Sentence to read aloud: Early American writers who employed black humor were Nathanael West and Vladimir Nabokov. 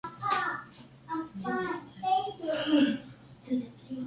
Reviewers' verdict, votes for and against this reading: rejected, 0, 3